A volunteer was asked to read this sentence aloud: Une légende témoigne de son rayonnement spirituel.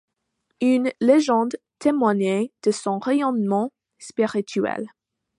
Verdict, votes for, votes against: rejected, 1, 2